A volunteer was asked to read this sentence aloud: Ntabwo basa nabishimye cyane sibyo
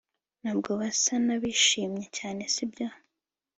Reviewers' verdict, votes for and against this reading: accepted, 3, 0